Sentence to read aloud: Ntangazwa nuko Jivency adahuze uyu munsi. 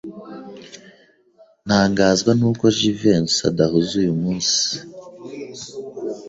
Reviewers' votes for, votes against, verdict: 2, 0, accepted